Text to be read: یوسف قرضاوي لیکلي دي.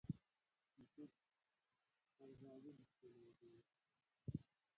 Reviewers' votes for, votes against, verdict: 0, 2, rejected